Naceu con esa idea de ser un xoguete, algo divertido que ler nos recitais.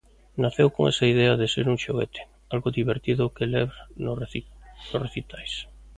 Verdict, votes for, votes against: rejected, 0, 2